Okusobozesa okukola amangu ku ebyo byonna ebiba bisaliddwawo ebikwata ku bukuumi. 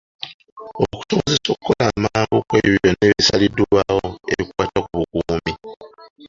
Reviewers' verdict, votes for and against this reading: rejected, 0, 2